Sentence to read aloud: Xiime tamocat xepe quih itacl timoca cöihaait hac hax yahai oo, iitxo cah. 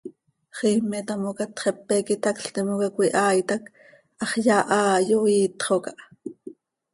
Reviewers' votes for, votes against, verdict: 2, 0, accepted